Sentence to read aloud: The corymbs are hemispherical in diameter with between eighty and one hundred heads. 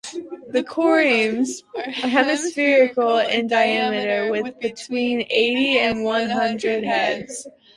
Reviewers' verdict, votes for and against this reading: rejected, 0, 2